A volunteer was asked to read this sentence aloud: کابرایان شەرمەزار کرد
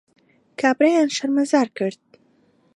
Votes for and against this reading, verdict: 2, 0, accepted